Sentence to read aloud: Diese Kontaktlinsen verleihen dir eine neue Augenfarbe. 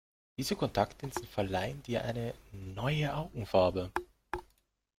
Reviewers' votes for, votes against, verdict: 1, 2, rejected